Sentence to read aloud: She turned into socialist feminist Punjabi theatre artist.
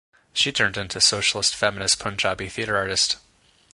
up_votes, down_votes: 2, 0